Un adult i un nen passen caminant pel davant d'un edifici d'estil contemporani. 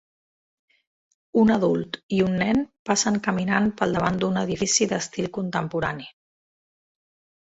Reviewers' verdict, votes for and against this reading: accepted, 3, 0